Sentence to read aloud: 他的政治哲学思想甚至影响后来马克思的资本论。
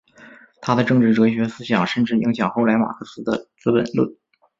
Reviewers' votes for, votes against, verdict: 1, 2, rejected